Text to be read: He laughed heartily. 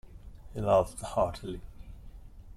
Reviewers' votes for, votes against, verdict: 2, 0, accepted